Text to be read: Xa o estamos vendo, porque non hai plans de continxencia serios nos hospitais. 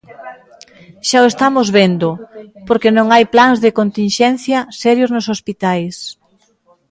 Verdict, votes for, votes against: accepted, 2, 0